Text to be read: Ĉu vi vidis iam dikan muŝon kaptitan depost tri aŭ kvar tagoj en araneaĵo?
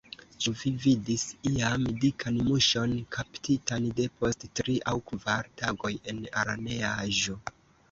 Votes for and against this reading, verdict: 0, 2, rejected